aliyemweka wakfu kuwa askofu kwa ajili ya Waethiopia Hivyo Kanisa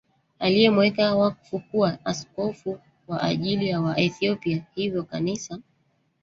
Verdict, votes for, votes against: rejected, 0, 2